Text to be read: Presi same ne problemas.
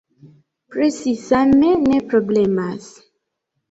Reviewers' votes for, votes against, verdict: 1, 2, rejected